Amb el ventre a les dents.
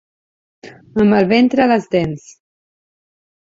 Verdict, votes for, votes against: accepted, 3, 0